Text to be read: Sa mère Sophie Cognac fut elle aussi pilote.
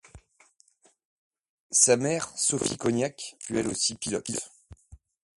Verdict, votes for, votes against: accepted, 2, 1